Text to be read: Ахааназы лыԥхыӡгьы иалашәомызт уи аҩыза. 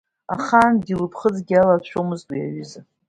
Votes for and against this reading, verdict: 2, 0, accepted